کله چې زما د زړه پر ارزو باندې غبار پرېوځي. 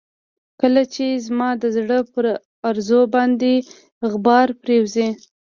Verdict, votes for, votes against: accepted, 2, 0